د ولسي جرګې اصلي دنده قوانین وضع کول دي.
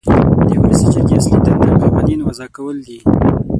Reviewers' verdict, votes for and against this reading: rejected, 3, 6